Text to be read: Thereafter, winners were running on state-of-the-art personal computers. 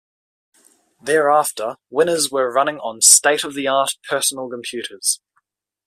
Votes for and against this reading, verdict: 2, 1, accepted